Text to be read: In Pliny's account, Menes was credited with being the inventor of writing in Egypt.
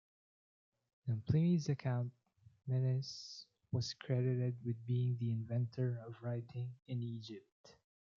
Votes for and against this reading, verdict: 2, 0, accepted